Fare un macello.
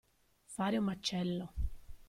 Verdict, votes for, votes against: rejected, 1, 2